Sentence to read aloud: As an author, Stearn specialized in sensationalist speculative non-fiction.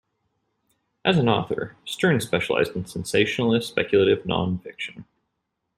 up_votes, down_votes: 1, 2